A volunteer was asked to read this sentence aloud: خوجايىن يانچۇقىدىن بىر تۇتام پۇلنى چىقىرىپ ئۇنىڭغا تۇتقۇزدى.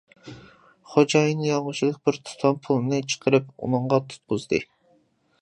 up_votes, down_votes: 0, 2